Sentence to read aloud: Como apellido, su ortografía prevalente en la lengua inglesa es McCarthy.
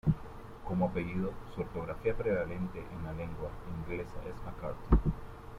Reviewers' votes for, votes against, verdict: 0, 2, rejected